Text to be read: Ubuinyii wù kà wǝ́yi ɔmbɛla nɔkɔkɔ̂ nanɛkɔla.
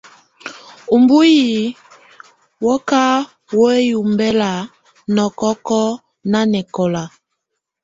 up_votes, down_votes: 2, 0